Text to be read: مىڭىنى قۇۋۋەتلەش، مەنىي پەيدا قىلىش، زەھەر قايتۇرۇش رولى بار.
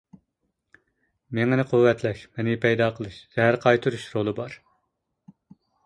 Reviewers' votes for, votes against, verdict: 2, 0, accepted